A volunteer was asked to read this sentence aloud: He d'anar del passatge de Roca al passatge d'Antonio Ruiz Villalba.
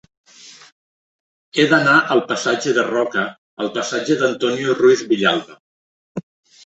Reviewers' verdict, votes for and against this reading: rejected, 1, 2